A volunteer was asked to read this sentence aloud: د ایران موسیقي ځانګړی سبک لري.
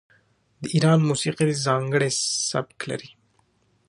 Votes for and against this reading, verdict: 2, 1, accepted